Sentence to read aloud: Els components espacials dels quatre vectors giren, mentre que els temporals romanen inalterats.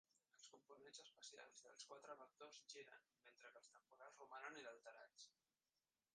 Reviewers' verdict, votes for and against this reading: rejected, 0, 2